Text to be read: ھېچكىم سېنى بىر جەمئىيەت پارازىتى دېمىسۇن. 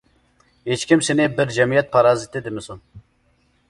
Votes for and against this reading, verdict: 2, 0, accepted